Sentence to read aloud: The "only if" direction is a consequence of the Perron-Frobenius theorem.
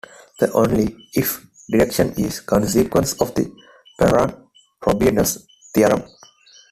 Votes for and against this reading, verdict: 2, 1, accepted